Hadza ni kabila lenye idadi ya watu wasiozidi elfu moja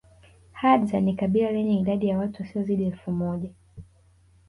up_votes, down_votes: 1, 2